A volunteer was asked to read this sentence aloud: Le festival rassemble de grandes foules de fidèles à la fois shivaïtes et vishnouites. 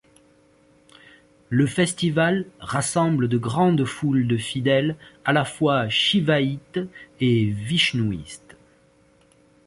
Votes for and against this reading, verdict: 1, 2, rejected